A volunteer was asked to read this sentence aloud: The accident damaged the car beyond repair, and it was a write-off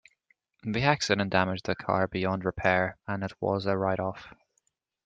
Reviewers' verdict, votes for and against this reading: accepted, 2, 0